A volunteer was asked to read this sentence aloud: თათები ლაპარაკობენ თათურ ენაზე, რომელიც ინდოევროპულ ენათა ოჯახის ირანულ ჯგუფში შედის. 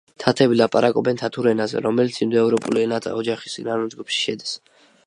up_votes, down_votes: 2, 1